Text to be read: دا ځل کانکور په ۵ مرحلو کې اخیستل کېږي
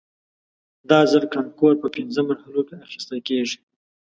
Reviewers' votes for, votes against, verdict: 0, 2, rejected